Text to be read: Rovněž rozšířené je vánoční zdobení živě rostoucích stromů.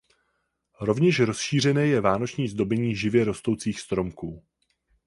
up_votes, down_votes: 0, 4